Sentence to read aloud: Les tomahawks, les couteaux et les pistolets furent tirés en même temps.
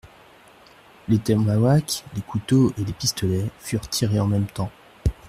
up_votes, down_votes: 1, 2